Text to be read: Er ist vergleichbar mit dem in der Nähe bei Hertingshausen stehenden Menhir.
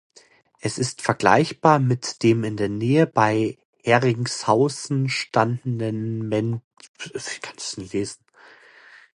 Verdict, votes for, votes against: rejected, 0, 2